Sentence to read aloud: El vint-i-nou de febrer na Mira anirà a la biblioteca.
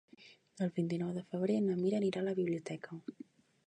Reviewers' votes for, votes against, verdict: 0, 2, rejected